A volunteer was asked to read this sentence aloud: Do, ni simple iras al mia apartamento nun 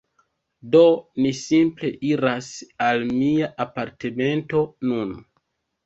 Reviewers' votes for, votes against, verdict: 1, 2, rejected